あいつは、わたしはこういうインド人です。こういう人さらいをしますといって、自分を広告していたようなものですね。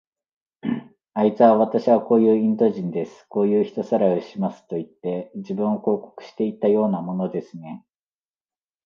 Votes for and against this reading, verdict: 2, 0, accepted